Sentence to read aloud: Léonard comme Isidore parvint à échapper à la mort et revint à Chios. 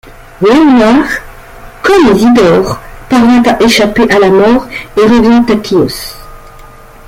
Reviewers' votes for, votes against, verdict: 0, 2, rejected